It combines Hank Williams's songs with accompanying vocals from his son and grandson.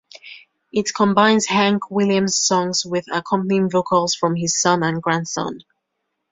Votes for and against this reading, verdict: 1, 2, rejected